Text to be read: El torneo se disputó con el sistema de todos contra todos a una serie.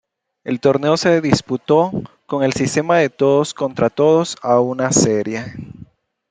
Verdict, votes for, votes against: accepted, 2, 0